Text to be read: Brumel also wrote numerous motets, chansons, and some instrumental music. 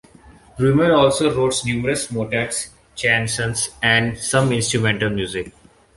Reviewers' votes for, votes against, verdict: 1, 2, rejected